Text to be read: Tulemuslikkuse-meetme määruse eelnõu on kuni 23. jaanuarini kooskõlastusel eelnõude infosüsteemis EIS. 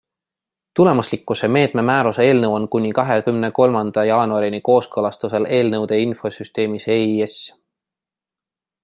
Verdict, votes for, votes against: rejected, 0, 2